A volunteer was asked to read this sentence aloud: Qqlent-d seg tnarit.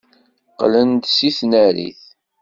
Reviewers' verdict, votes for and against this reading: rejected, 1, 2